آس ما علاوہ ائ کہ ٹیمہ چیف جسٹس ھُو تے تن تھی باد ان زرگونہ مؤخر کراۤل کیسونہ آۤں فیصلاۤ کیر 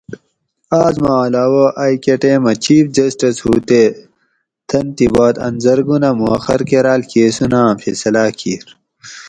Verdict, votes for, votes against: accepted, 4, 0